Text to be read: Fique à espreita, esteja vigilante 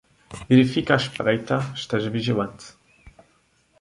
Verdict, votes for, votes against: rejected, 1, 2